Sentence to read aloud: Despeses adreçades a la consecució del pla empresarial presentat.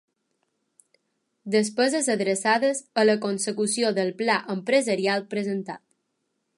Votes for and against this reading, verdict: 3, 0, accepted